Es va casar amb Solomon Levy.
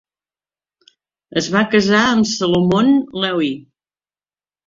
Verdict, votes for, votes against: rejected, 1, 2